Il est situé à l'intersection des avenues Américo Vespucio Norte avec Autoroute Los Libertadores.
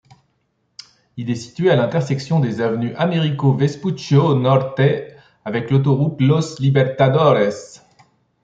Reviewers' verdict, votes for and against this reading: rejected, 1, 2